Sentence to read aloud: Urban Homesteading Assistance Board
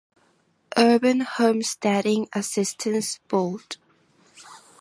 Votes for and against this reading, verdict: 2, 0, accepted